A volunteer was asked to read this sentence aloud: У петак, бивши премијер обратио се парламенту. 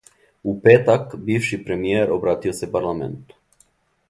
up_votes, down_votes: 2, 0